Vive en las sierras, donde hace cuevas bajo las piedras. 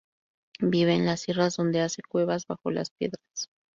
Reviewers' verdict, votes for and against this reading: accepted, 2, 0